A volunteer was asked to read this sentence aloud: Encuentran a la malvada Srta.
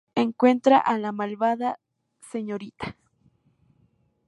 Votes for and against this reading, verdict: 0, 2, rejected